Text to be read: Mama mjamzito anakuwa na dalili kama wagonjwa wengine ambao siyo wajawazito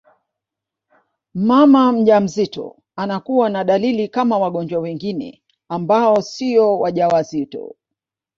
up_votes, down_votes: 0, 2